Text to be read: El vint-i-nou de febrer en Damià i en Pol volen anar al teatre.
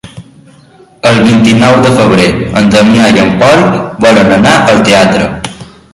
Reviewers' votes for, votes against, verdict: 1, 2, rejected